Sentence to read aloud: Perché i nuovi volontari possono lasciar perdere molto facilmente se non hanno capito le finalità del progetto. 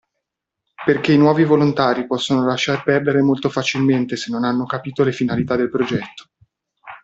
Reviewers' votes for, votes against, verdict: 2, 0, accepted